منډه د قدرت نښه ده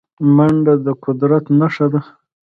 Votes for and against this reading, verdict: 2, 0, accepted